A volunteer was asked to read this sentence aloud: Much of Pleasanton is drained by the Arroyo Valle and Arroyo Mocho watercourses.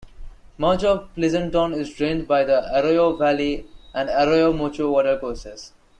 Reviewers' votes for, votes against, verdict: 2, 0, accepted